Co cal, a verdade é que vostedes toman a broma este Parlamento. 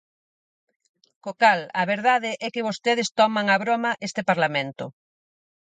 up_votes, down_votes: 4, 0